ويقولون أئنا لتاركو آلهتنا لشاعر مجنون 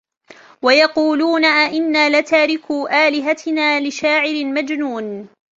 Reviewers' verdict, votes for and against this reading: accepted, 3, 1